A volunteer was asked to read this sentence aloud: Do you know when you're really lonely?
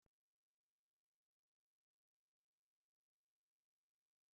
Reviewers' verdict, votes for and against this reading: rejected, 0, 2